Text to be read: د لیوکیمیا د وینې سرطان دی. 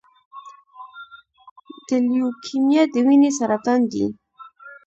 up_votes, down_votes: 0, 2